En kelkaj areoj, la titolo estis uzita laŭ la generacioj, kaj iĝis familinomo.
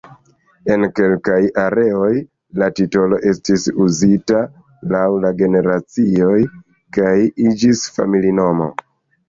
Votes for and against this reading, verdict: 2, 1, accepted